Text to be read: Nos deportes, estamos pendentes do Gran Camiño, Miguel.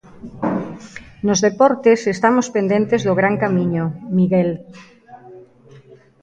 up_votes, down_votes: 1, 2